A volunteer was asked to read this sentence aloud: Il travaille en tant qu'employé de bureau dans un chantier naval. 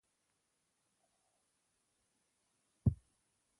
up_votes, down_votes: 0, 2